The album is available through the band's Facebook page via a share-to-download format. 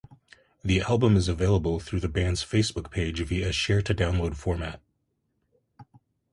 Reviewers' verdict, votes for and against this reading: accepted, 2, 0